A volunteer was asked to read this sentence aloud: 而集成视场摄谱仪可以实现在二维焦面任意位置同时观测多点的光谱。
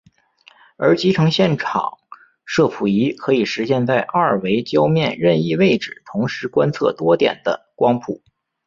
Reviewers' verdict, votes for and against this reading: accepted, 4, 2